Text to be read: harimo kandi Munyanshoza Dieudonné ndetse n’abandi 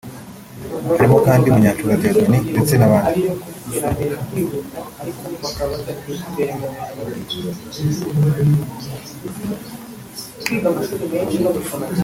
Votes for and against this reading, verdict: 0, 2, rejected